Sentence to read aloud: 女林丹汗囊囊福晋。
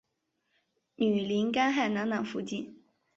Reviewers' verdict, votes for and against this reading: accepted, 3, 1